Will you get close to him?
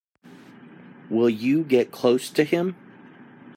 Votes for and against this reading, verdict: 2, 0, accepted